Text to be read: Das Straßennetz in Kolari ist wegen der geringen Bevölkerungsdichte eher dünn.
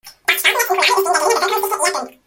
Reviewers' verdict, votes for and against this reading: rejected, 0, 2